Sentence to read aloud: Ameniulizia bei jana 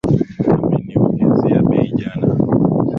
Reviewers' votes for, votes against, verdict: 4, 1, accepted